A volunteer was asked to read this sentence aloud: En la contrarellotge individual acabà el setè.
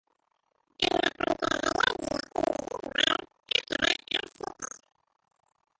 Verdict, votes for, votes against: rejected, 0, 2